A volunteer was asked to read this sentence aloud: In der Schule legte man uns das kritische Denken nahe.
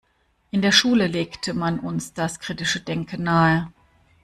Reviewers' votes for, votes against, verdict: 2, 0, accepted